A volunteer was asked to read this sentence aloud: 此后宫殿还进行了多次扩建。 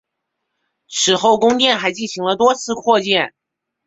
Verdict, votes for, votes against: accepted, 7, 0